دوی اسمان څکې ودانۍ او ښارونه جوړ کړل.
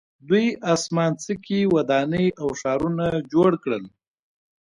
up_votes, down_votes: 2, 0